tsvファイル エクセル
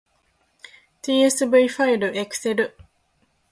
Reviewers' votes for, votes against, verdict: 2, 1, accepted